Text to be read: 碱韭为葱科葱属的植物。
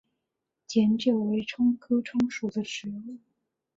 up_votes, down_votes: 2, 1